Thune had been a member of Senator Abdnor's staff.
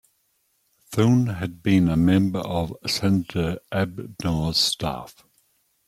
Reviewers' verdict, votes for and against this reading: accepted, 2, 0